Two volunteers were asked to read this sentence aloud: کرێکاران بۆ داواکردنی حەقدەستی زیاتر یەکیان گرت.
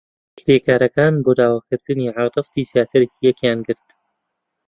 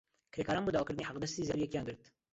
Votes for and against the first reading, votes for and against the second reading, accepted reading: 0, 2, 2, 1, second